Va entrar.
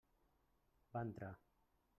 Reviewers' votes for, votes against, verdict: 1, 2, rejected